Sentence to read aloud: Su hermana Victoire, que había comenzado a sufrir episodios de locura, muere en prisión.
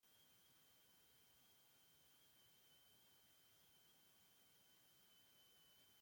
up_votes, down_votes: 0, 2